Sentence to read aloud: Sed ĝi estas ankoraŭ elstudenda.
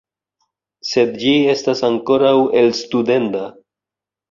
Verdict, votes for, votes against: rejected, 1, 2